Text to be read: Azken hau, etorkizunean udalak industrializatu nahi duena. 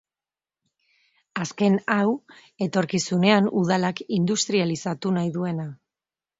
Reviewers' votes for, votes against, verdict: 2, 0, accepted